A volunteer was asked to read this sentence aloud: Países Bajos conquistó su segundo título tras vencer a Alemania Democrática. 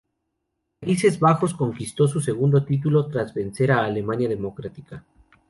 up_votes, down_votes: 0, 2